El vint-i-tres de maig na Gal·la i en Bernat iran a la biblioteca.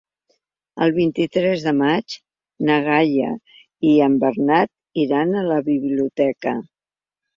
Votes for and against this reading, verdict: 1, 2, rejected